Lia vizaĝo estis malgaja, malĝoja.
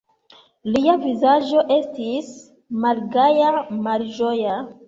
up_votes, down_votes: 2, 1